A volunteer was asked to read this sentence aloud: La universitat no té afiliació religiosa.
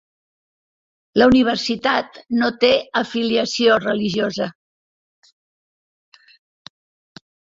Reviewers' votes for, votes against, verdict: 3, 0, accepted